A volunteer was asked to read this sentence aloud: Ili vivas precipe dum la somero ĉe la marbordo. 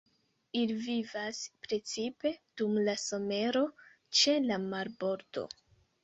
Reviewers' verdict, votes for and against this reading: accepted, 2, 1